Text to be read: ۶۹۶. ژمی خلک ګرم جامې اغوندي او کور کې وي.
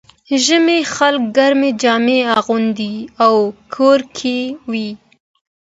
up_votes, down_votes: 0, 2